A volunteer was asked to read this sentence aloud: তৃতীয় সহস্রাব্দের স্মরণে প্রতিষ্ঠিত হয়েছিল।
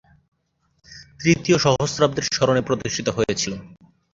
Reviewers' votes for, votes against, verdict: 2, 0, accepted